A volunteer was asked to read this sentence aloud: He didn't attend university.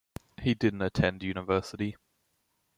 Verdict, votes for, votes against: accepted, 2, 0